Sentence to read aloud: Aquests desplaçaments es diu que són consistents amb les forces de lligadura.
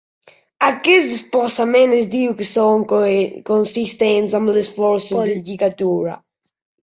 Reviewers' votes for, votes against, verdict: 0, 2, rejected